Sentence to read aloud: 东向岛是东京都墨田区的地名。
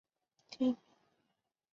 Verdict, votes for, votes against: rejected, 0, 5